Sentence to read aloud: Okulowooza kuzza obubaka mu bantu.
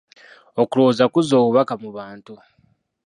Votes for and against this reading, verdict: 0, 2, rejected